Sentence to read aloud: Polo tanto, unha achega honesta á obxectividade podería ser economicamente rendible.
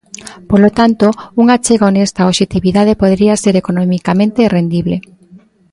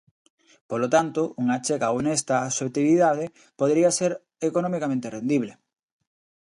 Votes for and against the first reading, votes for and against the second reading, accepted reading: 1, 2, 2, 0, second